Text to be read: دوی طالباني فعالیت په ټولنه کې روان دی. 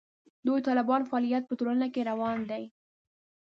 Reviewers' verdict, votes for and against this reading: rejected, 0, 2